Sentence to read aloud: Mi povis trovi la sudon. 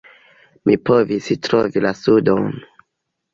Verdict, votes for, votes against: rejected, 0, 2